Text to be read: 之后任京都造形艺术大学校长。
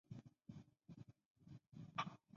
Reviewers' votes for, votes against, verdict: 1, 3, rejected